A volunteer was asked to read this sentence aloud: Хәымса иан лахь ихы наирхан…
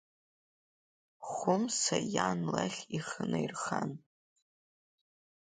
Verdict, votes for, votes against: accepted, 3, 0